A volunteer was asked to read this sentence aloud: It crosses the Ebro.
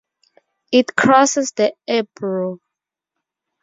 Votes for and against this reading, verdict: 4, 0, accepted